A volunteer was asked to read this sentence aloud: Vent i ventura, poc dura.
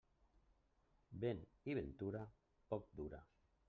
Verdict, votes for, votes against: rejected, 1, 2